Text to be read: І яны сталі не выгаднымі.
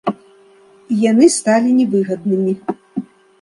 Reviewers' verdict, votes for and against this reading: accepted, 2, 1